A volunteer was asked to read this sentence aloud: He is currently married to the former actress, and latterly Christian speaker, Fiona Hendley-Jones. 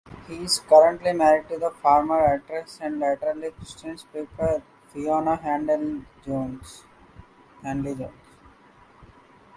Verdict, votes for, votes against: rejected, 0, 2